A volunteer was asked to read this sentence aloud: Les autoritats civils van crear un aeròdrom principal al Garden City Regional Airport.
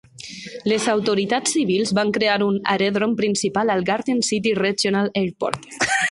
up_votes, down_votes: 1, 2